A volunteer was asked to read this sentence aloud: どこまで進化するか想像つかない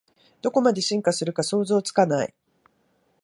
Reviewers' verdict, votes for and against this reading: accepted, 2, 0